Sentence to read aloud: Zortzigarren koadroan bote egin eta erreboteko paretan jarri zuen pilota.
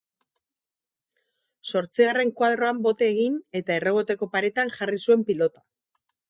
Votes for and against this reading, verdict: 0, 2, rejected